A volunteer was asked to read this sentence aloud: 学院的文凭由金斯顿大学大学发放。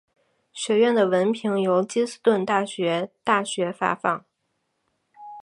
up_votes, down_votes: 2, 0